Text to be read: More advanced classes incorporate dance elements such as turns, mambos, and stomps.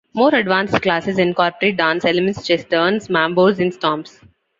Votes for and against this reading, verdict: 0, 2, rejected